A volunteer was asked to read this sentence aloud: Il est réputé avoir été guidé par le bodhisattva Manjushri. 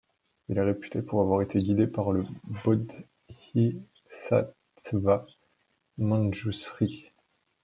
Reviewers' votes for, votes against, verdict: 2, 1, accepted